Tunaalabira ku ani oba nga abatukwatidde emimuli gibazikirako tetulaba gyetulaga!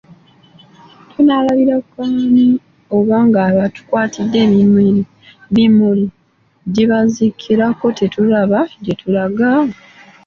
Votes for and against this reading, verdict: 2, 1, accepted